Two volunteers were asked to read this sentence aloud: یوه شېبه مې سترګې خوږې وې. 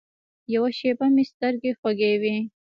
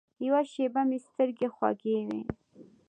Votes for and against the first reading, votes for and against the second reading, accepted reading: 0, 2, 2, 0, second